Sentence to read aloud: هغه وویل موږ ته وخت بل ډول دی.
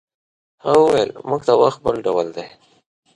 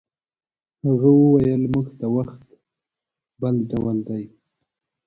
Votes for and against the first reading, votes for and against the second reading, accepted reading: 2, 0, 1, 2, first